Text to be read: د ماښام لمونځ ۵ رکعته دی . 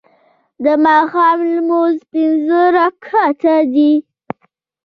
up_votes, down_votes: 0, 2